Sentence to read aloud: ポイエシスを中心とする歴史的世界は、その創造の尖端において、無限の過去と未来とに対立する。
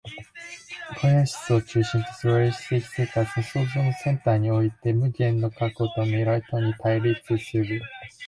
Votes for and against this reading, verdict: 0, 2, rejected